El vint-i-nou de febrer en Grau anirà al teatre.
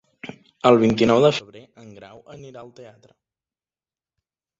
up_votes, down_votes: 2, 3